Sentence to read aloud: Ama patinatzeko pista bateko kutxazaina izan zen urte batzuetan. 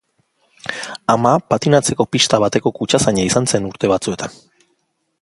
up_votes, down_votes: 2, 0